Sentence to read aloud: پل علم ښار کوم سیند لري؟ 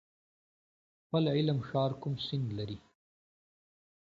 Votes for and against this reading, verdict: 2, 1, accepted